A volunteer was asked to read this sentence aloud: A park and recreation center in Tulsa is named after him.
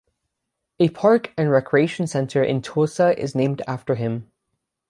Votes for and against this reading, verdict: 6, 0, accepted